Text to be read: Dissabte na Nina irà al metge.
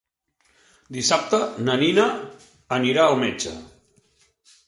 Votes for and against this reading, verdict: 1, 2, rejected